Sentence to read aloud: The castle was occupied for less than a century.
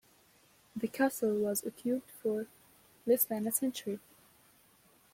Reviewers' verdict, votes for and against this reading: rejected, 1, 2